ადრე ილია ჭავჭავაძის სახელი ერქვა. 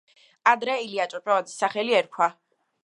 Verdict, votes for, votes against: accepted, 2, 0